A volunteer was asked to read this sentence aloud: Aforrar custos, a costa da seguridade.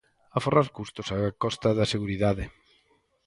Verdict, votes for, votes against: rejected, 2, 2